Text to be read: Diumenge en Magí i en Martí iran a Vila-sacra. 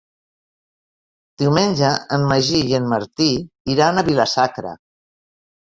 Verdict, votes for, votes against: accepted, 3, 0